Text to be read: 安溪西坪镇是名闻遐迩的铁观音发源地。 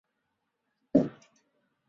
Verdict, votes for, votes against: rejected, 0, 3